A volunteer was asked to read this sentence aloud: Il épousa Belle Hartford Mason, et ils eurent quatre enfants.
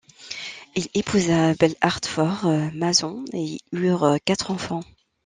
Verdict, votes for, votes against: rejected, 0, 2